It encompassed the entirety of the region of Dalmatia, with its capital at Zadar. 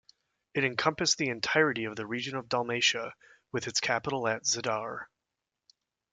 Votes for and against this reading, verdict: 2, 0, accepted